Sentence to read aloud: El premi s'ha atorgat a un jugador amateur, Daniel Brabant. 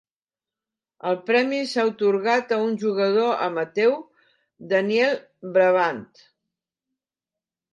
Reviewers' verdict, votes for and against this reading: rejected, 1, 2